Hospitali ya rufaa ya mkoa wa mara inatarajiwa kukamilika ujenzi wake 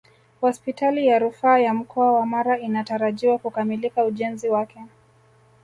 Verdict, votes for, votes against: rejected, 0, 2